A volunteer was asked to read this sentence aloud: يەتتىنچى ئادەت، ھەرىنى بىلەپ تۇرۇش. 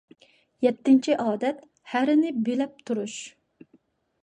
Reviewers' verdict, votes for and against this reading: accepted, 2, 0